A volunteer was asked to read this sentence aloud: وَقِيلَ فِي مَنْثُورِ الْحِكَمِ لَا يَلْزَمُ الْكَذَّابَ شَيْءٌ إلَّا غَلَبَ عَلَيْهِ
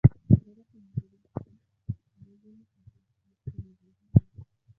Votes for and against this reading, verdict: 0, 2, rejected